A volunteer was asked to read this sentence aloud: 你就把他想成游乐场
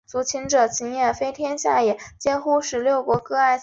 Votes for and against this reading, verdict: 0, 3, rejected